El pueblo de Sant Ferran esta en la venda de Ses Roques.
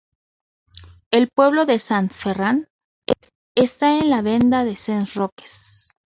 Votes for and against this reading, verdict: 0, 2, rejected